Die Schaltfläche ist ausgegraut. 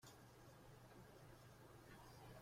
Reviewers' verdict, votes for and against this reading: rejected, 0, 2